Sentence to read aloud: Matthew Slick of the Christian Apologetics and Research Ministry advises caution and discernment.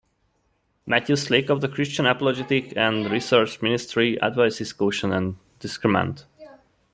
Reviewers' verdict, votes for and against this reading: rejected, 1, 2